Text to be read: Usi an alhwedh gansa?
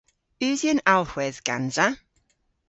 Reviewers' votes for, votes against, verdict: 2, 0, accepted